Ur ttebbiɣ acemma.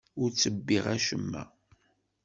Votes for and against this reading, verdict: 2, 0, accepted